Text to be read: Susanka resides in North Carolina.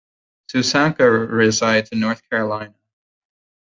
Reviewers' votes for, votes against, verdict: 2, 1, accepted